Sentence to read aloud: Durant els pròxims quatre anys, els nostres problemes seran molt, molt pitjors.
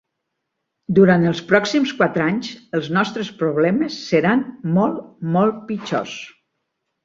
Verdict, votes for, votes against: accepted, 3, 0